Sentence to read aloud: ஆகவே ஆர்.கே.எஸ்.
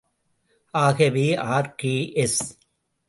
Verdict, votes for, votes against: accepted, 2, 0